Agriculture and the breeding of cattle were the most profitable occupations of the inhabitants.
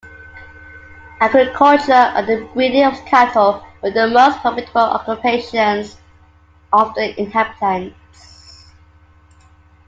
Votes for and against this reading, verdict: 2, 1, accepted